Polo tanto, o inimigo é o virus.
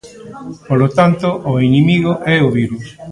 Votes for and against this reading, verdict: 2, 0, accepted